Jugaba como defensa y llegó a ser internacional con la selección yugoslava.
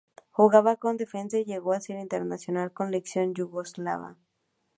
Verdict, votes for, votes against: accepted, 2, 0